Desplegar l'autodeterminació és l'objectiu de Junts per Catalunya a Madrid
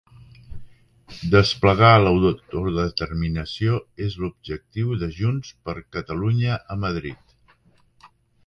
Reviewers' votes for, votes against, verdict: 0, 3, rejected